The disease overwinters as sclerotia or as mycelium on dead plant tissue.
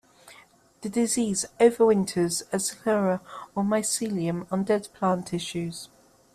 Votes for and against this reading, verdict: 1, 2, rejected